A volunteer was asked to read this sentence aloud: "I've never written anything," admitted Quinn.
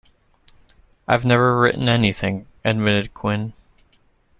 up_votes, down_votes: 2, 0